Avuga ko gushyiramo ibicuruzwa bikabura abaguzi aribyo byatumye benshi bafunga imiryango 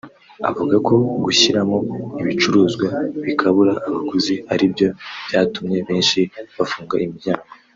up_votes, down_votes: 1, 2